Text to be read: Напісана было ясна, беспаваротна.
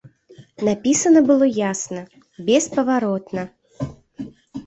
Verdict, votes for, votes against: accepted, 2, 0